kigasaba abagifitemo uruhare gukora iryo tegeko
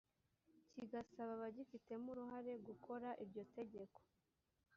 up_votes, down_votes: 1, 2